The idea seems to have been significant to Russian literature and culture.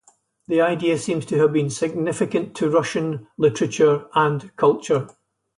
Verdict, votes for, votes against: accepted, 4, 0